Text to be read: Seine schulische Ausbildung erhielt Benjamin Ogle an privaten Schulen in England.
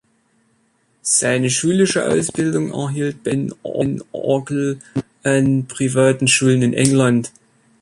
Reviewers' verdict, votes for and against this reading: rejected, 0, 2